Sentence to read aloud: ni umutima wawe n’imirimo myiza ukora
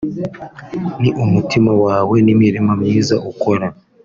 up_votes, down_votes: 2, 0